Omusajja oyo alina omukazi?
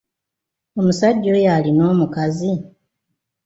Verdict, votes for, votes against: accepted, 2, 0